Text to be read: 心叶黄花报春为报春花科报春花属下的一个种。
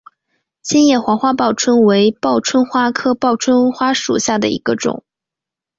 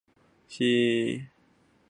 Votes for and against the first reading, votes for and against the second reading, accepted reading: 2, 0, 0, 3, first